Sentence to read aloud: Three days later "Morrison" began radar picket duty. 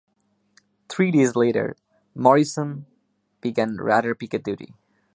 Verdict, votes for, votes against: accepted, 2, 1